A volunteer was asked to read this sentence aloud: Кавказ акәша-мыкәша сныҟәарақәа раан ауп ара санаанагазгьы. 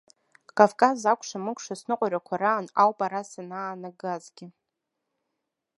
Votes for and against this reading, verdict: 1, 2, rejected